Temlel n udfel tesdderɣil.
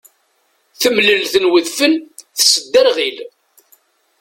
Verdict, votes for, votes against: rejected, 1, 2